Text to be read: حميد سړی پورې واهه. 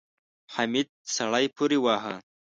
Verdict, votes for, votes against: accepted, 2, 0